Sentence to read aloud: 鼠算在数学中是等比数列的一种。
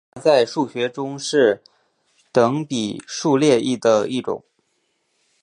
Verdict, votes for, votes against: accepted, 7, 0